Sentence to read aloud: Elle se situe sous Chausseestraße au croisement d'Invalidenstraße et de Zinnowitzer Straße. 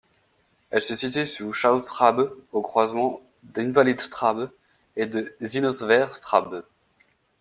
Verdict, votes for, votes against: rejected, 0, 2